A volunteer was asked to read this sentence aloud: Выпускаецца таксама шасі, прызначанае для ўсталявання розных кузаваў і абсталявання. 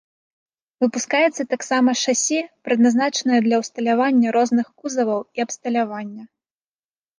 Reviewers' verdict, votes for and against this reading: rejected, 0, 2